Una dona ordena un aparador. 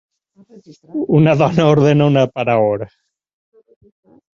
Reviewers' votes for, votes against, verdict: 0, 4, rejected